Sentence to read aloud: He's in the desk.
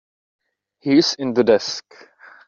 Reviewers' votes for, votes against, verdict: 3, 0, accepted